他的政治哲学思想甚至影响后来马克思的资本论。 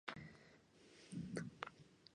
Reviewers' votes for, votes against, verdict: 0, 2, rejected